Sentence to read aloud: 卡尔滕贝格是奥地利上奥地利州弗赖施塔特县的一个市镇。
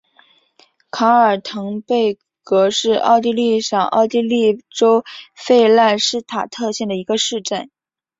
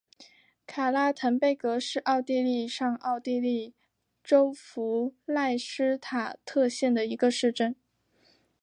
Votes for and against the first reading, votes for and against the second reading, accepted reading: 4, 1, 1, 2, first